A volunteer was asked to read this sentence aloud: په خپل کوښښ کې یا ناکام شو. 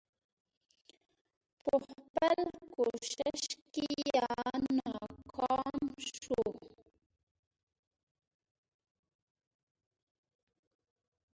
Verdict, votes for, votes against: rejected, 1, 2